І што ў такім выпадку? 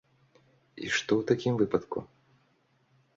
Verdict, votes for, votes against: accepted, 2, 0